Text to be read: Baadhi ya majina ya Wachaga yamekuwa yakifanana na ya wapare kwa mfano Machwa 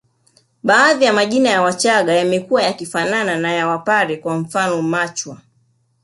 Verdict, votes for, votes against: rejected, 1, 2